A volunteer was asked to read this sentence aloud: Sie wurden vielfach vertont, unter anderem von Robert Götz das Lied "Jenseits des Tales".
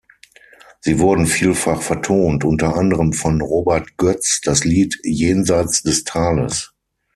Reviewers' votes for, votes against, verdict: 6, 0, accepted